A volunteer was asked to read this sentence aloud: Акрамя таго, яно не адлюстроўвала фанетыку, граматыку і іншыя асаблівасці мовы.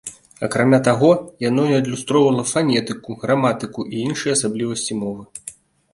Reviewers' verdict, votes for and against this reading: accepted, 2, 0